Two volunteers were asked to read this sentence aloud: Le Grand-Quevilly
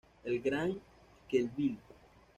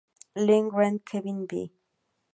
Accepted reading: second